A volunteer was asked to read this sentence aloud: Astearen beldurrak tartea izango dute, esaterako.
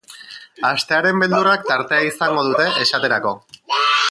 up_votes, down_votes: 0, 2